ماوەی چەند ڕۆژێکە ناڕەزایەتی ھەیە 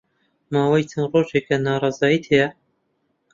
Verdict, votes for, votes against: rejected, 1, 2